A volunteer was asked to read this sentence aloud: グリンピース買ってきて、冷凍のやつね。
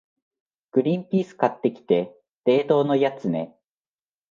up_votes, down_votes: 2, 0